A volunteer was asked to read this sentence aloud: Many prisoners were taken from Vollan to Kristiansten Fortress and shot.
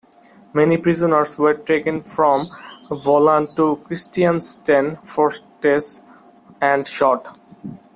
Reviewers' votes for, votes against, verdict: 1, 2, rejected